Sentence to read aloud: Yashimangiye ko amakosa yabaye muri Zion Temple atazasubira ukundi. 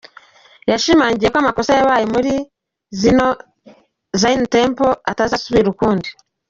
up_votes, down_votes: 1, 2